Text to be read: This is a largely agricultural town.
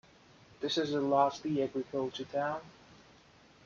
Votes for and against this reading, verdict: 1, 2, rejected